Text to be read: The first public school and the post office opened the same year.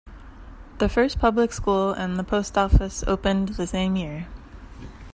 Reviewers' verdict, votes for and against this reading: accepted, 2, 0